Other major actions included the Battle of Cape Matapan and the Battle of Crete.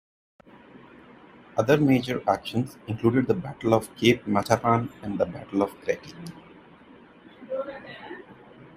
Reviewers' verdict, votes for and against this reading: rejected, 1, 2